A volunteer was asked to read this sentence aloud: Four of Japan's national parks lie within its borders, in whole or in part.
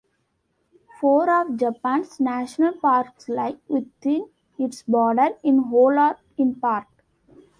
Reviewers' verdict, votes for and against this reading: rejected, 0, 2